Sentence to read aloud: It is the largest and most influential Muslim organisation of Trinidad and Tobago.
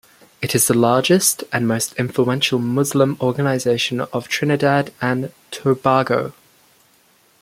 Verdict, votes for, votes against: accepted, 2, 0